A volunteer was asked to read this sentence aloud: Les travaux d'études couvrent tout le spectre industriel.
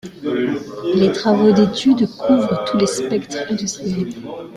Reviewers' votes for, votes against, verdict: 0, 2, rejected